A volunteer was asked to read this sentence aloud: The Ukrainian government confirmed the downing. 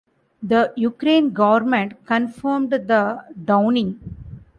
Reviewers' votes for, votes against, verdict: 0, 2, rejected